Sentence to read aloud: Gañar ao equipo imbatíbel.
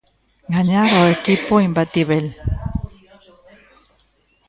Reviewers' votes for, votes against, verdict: 0, 2, rejected